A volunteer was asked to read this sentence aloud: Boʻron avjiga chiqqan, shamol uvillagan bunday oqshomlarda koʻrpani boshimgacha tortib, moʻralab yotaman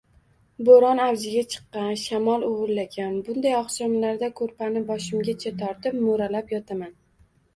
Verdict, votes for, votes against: rejected, 1, 2